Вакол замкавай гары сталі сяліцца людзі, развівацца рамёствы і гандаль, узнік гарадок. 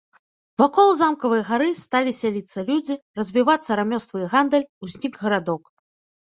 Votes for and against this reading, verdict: 2, 0, accepted